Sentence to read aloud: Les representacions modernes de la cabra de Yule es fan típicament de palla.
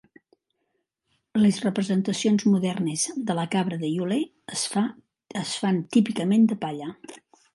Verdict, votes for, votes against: rejected, 1, 2